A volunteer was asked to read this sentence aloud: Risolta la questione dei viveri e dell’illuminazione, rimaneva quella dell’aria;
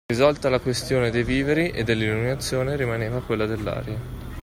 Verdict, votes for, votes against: accepted, 2, 0